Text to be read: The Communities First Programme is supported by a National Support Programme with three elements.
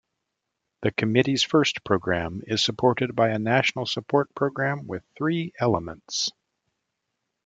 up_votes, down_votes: 0, 2